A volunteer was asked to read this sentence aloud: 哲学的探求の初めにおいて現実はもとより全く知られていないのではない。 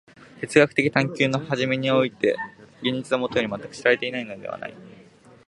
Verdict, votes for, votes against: accepted, 3, 0